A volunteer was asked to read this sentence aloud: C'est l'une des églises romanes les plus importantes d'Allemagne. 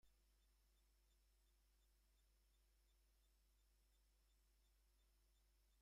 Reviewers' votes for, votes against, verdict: 0, 2, rejected